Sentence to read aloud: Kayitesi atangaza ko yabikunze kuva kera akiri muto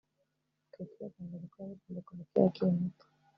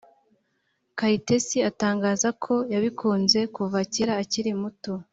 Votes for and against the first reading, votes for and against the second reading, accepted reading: 0, 2, 2, 0, second